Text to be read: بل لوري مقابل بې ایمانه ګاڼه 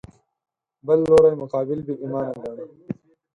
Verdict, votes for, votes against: rejected, 2, 4